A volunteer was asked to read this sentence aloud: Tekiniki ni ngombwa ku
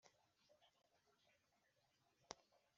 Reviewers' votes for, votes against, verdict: 1, 2, rejected